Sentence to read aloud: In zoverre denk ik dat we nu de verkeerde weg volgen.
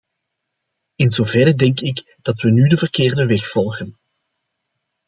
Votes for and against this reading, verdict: 2, 0, accepted